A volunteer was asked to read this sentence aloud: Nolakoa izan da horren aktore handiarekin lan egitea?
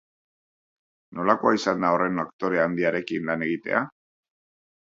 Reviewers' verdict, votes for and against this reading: accepted, 5, 0